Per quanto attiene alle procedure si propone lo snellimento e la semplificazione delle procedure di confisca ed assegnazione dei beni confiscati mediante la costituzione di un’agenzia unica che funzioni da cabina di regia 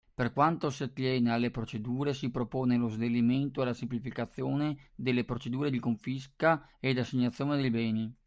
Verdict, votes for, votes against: rejected, 0, 2